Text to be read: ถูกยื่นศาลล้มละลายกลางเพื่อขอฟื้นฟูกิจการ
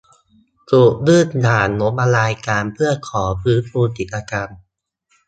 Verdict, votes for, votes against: rejected, 0, 2